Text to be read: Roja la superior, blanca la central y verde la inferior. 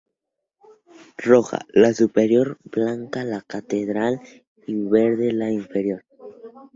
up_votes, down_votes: 0, 2